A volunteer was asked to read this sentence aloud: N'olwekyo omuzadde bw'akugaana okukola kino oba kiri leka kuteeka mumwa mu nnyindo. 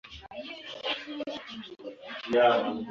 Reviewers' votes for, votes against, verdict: 0, 2, rejected